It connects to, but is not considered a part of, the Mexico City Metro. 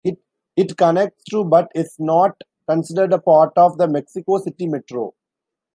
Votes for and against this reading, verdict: 0, 2, rejected